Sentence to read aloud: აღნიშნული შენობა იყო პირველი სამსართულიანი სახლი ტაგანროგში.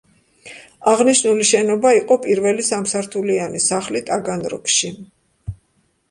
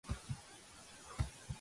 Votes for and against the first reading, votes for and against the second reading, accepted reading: 2, 0, 0, 2, first